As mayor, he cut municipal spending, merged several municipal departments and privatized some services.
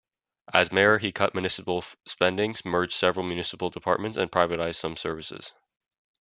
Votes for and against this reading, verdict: 2, 0, accepted